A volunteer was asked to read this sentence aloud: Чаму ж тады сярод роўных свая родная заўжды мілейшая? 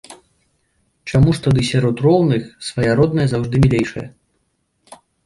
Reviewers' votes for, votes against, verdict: 2, 1, accepted